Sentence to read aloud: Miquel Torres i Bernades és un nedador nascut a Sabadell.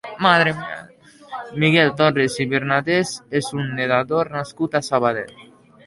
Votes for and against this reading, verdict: 0, 2, rejected